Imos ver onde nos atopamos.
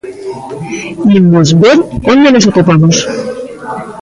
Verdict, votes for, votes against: rejected, 1, 2